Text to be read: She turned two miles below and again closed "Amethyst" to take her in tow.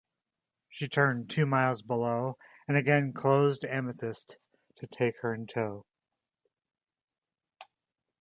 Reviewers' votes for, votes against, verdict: 2, 0, accepted